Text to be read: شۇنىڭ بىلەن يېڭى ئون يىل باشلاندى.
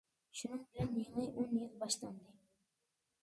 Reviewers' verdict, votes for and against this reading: accepted, 2, 1